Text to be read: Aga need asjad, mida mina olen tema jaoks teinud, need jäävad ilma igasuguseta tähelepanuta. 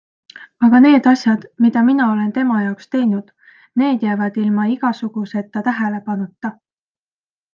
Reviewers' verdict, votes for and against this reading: accepted, 2, 0